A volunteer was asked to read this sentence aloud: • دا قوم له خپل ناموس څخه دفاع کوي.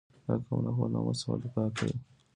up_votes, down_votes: 1, 2